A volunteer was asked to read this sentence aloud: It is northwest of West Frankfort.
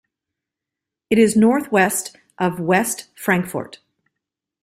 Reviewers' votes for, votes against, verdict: 2, 1, accepted